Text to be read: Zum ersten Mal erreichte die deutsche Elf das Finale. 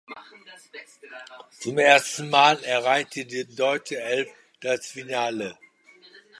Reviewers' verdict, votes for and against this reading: accepted, 2, 0